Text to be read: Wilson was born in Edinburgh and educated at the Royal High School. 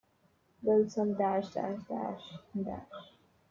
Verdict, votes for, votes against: rejected, 0, 2